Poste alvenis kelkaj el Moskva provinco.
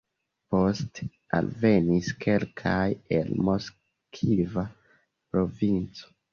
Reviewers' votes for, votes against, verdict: 0, 2, rejected